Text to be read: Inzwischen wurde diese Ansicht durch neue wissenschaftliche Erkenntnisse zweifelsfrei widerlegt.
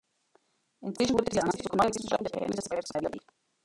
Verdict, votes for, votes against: rejected, 0, 2